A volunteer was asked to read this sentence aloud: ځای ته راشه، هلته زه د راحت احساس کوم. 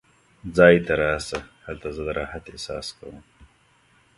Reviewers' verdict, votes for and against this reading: accepted, 2, 0